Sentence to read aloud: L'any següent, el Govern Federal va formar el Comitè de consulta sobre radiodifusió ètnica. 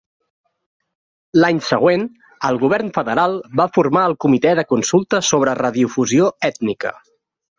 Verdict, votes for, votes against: accepted, 2, 0